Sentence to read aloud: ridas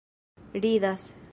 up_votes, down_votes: 2, 1